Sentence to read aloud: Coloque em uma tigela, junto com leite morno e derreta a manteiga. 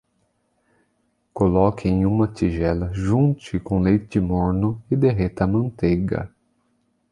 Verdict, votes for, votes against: rejected, 0, 2